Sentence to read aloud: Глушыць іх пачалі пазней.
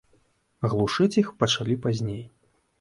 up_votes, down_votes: 2, 0